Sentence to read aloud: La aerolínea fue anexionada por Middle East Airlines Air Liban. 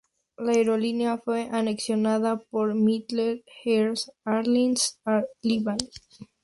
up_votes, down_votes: 2, 0